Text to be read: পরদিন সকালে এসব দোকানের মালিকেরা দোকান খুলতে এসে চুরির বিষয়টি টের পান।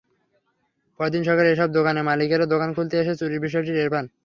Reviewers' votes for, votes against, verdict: 0, 3, rejected